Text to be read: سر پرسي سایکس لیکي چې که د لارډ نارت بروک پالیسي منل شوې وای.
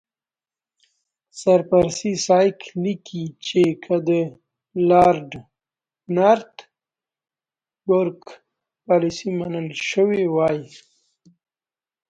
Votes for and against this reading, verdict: 2, 0, accepted